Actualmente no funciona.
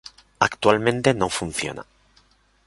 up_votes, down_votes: 2, 0